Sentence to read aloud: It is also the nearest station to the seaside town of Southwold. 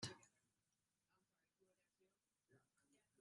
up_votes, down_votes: 0, 2